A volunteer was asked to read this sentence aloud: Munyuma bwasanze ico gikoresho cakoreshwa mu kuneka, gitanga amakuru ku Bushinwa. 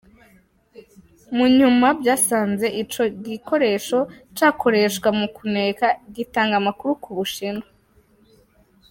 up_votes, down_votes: 1, 2